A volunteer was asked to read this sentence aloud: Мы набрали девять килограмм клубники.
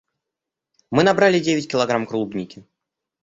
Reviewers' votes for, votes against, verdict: 0, 2, rejected